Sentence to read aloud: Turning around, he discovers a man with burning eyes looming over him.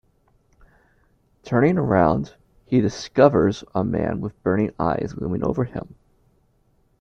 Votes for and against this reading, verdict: 2, 0, accepted